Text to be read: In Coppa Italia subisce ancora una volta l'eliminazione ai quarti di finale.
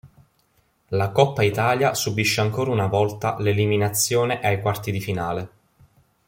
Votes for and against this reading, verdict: 0, 3, rejected